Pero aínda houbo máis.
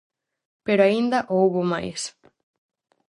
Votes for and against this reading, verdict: 4, 0, accepted